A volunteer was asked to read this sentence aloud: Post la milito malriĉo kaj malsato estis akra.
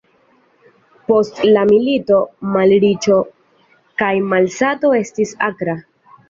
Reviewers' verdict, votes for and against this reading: accepted, 2, 1